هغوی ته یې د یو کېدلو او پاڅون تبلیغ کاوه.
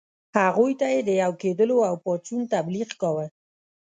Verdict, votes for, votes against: rejected, 1, 2